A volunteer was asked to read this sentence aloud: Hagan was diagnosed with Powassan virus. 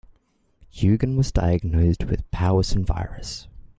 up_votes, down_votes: 0, 2